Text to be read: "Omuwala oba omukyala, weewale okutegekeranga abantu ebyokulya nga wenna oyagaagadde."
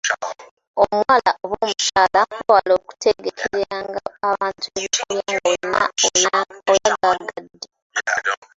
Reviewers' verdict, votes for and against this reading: rejected, 0, 2